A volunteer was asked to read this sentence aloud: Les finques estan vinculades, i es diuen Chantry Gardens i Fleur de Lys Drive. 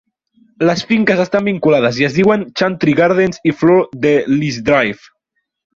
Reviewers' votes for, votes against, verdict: 0, 2, rejected